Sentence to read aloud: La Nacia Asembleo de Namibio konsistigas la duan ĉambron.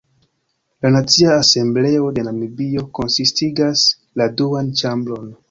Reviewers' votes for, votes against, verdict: 1, 2, rejected